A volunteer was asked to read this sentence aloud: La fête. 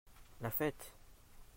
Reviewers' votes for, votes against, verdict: 2, 0, accepted